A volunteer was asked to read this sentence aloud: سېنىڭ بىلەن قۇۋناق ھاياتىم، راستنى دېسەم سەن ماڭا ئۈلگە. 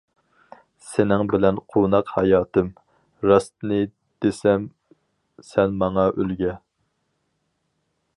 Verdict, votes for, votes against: accepted, 4, 2